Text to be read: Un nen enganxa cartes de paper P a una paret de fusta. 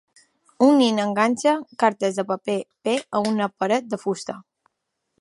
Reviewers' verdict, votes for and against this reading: accepted, 2, 1